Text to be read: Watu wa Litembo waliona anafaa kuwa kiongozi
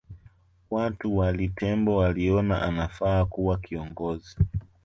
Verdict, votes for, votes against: rejected, 1, 2